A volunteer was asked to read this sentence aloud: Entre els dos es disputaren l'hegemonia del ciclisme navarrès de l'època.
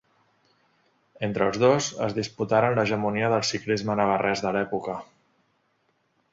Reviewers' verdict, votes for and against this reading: accepted, 2, 0